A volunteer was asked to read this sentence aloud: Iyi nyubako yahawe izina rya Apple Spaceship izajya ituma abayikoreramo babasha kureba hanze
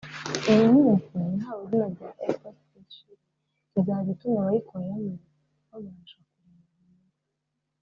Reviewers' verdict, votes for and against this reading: rejected, 0, 2